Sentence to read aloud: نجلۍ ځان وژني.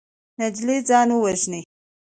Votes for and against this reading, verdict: 2, 0, accepted